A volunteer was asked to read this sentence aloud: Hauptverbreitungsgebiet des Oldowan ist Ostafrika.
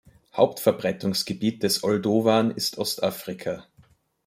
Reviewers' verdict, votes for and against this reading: accepted, 2, 0